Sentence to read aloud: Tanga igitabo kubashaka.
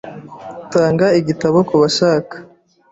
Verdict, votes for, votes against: accepted, 2, 0